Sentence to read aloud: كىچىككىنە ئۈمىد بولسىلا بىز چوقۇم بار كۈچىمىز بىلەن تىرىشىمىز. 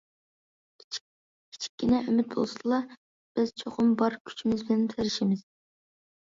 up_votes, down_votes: 1, 2